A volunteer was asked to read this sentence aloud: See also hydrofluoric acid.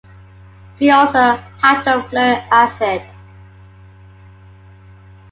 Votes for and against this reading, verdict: 2, 1, accepted